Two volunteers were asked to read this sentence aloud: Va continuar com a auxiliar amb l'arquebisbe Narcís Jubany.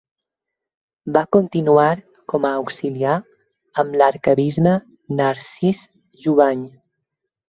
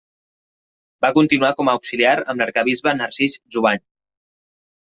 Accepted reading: second